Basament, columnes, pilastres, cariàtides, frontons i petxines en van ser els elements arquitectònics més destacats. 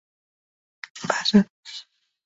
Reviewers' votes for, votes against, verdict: 0, 2, rejected